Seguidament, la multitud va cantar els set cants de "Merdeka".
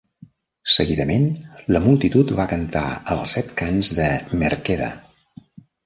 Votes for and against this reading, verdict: 0, 2, rejected